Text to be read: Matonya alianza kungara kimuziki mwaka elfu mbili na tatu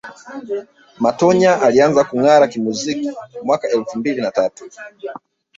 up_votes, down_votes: 1, 2